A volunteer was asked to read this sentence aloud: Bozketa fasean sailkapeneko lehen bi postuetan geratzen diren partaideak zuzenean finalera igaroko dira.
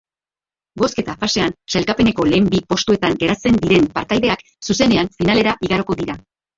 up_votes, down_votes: 1, 3